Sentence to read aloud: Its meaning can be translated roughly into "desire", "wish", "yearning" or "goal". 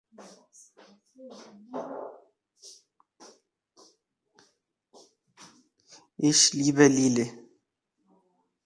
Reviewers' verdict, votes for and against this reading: rejected, 0, 2